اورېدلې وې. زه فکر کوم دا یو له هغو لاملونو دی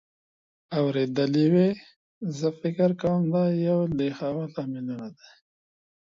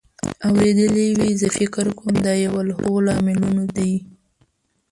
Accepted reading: first